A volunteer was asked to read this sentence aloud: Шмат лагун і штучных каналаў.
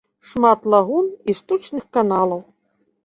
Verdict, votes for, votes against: accepted, 2, 0